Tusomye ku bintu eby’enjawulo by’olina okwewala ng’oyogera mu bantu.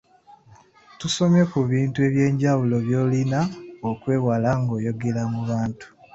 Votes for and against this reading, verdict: 2, 1, accepted